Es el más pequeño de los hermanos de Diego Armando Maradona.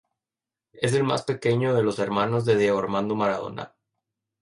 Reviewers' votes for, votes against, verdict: 2, 0, accepted